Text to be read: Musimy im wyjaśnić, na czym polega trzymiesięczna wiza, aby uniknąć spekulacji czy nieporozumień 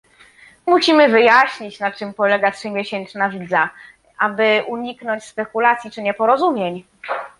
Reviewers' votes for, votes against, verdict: 1, 2, rejected